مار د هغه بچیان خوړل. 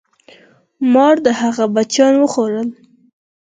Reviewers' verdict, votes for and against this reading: accepted, 4, 0